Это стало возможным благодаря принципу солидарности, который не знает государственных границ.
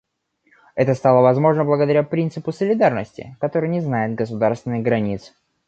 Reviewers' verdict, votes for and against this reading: rejected, 1, 2